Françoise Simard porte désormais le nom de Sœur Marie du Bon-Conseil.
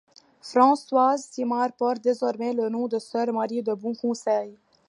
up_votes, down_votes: 1, 2